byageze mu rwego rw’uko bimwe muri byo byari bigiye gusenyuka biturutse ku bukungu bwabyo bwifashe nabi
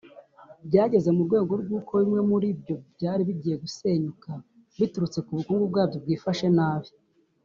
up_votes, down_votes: 1, 2